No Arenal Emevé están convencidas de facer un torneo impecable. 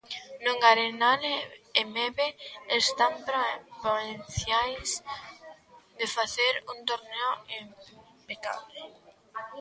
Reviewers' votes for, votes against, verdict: 0, 2, rejected